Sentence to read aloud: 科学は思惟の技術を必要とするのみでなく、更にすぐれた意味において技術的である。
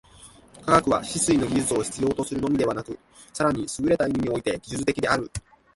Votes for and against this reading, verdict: 1, 2, rejected